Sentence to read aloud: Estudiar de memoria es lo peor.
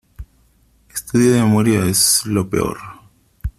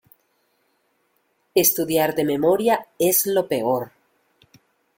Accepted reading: second